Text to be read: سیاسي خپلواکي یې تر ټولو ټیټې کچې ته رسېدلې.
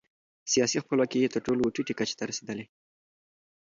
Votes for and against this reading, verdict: 2, 0, accepted